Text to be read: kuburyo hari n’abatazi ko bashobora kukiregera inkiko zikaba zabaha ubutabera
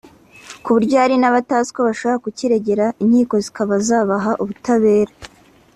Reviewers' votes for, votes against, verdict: 2, 0, accepted